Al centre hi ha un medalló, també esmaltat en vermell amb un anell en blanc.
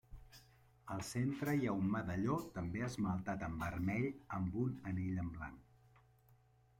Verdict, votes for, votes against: accepted, 3, 1